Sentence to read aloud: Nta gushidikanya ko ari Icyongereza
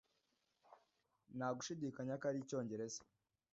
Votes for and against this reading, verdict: 0, 2, rejected